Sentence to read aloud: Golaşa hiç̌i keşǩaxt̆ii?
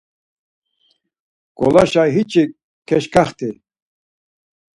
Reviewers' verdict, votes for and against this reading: rejected, 2, 4